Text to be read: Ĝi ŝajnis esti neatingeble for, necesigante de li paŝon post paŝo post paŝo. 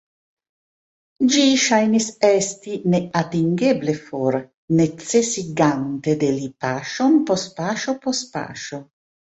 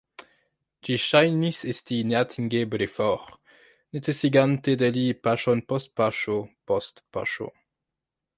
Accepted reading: second